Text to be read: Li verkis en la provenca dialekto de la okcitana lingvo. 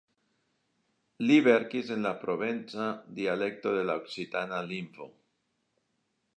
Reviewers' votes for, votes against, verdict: 1, 2, rejected